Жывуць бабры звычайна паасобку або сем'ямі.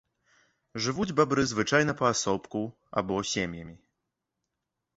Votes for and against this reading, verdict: 2, 0, accepted